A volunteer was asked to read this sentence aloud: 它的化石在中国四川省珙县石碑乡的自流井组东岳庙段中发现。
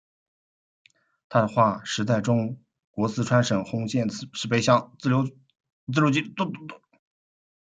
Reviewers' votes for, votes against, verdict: 0, 2, rejected